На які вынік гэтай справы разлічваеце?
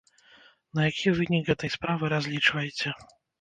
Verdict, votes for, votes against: rejected, 1, 2